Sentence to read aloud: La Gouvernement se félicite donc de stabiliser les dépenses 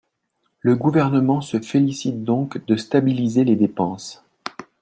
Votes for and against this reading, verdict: 2, 0, accepted